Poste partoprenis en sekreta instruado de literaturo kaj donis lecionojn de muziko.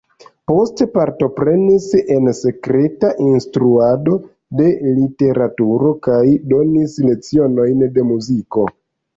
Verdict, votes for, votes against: rejected, 0, 2